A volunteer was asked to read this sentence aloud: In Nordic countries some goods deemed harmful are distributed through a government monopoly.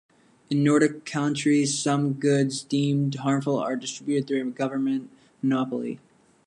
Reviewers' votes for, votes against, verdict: 2, 0, accepted